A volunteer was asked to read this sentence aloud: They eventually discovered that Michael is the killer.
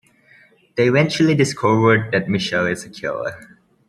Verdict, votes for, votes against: rejected, 0, 2